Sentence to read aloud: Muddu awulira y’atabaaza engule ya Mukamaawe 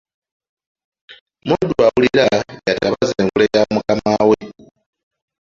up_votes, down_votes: 0, 2